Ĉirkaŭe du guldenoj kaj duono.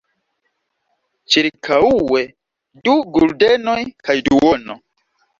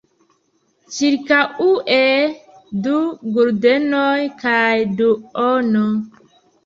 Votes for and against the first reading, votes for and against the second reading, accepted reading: 2, 0, 0, 2, first